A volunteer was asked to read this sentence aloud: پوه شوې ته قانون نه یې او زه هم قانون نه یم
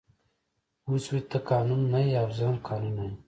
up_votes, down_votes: 2, 1